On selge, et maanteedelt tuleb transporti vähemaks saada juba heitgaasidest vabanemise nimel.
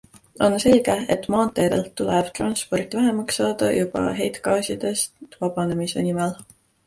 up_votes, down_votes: 2, 0